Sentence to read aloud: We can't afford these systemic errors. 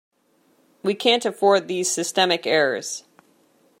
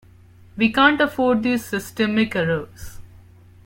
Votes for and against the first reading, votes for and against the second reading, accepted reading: 2, 0, 1, 2, first